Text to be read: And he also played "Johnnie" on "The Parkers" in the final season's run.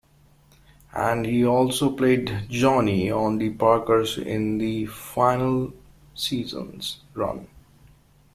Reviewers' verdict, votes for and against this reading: accepted, 2, 0